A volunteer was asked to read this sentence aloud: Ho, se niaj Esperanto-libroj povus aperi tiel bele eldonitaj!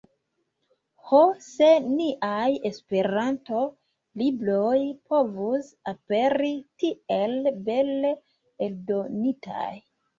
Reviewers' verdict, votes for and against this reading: rejected, 1, 2